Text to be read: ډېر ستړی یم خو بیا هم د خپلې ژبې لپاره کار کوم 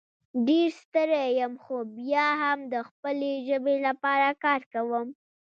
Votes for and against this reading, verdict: 1, 2, rejected